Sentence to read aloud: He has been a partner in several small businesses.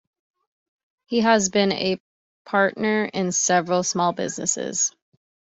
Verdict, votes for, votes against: accepted, 2, 0